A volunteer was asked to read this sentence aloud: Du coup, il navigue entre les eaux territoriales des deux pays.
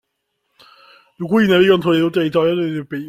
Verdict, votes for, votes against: rejected, 1, 2